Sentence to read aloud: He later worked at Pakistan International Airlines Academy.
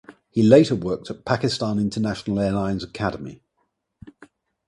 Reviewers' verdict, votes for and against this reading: accepted, 2, 0